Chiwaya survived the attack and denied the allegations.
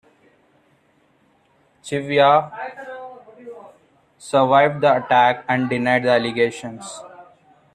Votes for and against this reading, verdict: 0, 2, rejected